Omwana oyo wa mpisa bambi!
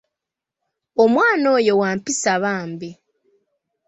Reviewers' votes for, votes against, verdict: 1, 3, rejected